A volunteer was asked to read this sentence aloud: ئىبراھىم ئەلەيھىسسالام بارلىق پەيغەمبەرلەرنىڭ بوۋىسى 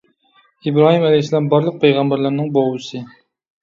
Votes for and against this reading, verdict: 1, 2, rejected